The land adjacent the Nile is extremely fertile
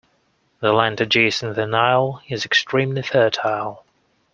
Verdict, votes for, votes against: accepted, 2, 0